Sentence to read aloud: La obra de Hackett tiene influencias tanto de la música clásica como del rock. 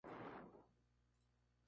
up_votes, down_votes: 0, 2